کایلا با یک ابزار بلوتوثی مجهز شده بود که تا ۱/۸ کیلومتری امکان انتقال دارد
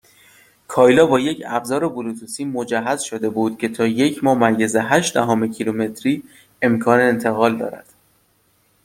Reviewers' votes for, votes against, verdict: 0, 2, rejected